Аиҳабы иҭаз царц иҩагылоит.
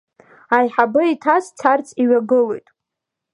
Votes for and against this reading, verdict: 2, 0, accepted